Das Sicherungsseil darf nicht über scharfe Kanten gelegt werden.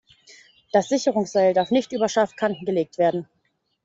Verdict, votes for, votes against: accepted, 2, 0